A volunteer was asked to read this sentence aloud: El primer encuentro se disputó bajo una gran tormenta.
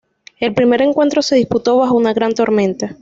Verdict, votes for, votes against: accepted, 2, 0